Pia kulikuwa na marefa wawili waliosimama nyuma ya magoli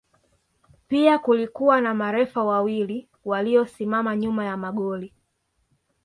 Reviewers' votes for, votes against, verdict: 2, 0, accepted